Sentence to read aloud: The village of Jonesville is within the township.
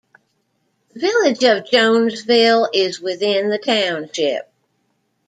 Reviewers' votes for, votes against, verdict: 2, 1, accepted